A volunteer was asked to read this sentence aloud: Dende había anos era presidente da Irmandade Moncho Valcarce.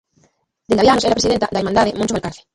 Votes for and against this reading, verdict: 0, 2, rejected